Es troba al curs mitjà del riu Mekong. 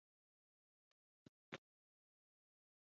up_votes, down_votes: 0, 2